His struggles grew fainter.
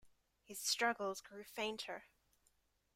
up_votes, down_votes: 2, 0